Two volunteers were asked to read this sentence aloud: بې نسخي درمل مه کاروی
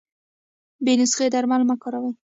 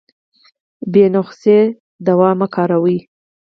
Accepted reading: first